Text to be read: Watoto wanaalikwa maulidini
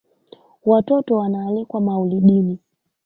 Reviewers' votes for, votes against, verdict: 0, 2, rejected